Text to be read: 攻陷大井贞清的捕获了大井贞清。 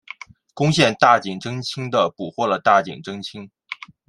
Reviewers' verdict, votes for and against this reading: accepted, 2, 0